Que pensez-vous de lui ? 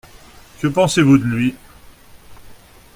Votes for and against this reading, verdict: 2, 0, accepted